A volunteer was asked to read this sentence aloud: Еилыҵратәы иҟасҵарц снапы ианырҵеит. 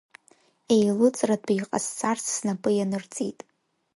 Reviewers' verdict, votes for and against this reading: accepted, 2, 0